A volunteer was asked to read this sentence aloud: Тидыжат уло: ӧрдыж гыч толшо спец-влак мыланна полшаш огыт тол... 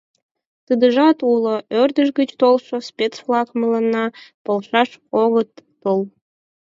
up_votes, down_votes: 4, 0